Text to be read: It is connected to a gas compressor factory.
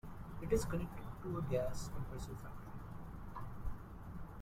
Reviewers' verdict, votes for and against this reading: rejected, 0, 2